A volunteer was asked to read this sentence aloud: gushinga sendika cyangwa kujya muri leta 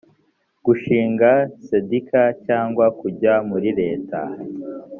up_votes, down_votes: 1, 2